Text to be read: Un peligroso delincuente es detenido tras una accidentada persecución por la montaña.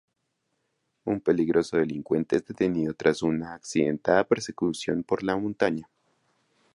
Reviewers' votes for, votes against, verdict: 0, 2, rejected